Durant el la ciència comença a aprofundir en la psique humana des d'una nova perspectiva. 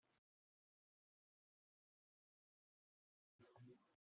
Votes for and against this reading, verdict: 0, 2, rejected